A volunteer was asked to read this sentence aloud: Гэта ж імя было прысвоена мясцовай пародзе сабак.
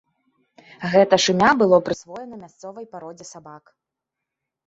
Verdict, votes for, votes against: accepted, 2, 0